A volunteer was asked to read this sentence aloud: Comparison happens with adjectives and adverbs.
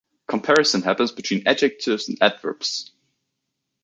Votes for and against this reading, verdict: 1, 2, rejected